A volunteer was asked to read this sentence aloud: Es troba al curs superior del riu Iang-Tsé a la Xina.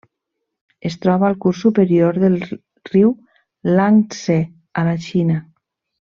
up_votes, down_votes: 1, 2